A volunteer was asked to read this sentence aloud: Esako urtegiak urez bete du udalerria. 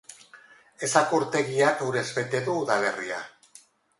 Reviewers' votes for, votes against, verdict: 4, 0, accepted